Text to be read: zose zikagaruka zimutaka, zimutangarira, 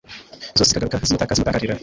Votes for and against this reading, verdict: 1, 2, rejected